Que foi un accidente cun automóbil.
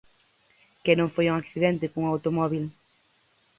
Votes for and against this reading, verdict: 0, 4, rejected